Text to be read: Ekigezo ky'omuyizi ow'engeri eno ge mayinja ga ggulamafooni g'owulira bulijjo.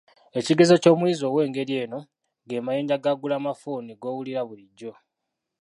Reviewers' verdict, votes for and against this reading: rejected, 1, 2